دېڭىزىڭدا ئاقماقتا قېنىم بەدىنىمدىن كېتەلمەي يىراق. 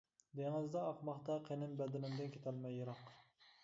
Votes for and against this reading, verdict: 1, 2, rejected